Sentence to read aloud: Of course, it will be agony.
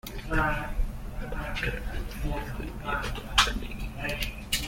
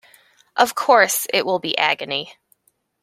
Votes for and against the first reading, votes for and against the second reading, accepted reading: 0, 2, 2, 0, second